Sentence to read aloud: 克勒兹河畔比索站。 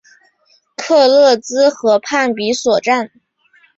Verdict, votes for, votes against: accepted, 3, 0